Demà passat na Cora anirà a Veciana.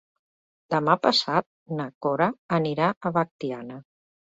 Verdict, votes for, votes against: rejected, 3, 4